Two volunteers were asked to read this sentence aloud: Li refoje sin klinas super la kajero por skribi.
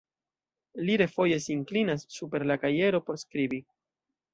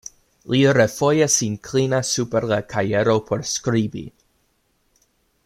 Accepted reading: second